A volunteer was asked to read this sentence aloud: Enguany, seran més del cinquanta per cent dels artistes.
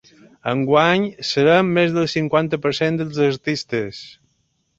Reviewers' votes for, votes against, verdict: 2, 0, accepted